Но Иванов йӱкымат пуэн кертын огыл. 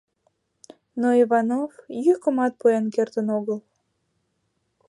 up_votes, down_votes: 2, 0